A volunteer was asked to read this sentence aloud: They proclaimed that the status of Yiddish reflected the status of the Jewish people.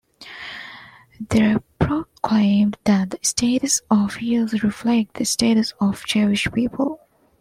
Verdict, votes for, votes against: rejected, 0, 2